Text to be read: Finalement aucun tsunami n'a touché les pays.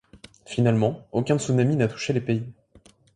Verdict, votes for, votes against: accepted, 2, 0